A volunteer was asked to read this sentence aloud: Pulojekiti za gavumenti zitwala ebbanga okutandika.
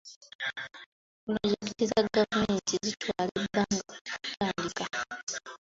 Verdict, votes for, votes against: rejected, 1, 2